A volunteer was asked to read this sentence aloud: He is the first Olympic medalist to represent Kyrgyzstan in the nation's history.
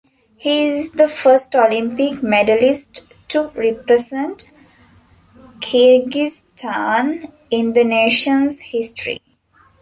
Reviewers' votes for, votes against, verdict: 0, 2, rejected